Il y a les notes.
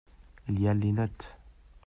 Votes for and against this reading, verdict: 2, 0, accepted